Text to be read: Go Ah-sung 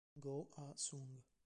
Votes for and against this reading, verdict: 0, 2, rejected